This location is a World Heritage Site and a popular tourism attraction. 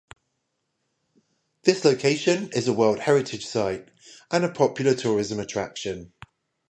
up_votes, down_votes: 0, 5